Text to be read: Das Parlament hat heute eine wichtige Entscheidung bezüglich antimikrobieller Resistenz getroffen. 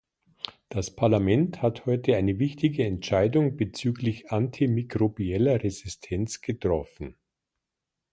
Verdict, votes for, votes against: accepted, 2, 0